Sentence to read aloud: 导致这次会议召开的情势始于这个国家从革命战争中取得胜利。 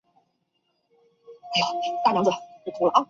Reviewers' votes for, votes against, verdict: 1, 2, rejected